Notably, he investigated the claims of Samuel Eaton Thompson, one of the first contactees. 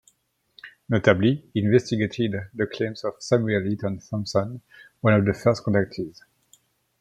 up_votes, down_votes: 2, 0